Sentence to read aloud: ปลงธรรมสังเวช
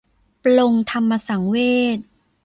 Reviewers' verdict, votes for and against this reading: accepted, 2, 1